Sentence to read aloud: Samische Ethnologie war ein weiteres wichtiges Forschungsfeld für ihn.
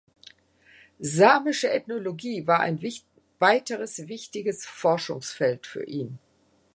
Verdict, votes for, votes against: rejected, 0, 2